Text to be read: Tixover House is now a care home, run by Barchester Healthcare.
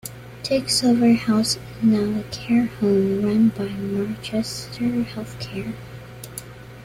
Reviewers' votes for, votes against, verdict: 2, 0, accepted